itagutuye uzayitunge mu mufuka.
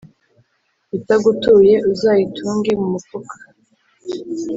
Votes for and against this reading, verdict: 2, 0, accepted